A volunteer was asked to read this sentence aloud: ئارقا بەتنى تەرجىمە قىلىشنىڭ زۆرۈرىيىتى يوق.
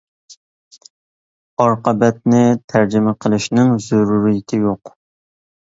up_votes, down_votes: 2, 0